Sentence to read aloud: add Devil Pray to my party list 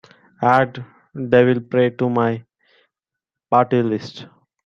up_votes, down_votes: 2, 1